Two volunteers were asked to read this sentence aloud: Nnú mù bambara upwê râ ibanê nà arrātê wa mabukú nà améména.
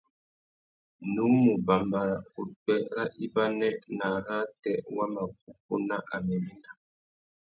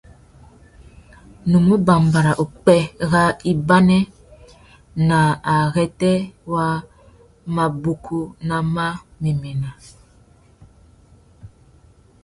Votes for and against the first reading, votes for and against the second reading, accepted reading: 2, 0, 1, 2, first